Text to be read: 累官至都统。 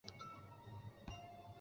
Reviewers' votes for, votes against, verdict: 3, 2, accepted